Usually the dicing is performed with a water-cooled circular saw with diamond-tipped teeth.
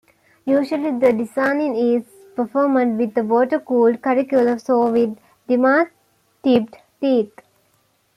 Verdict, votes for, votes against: rejected, 0, 2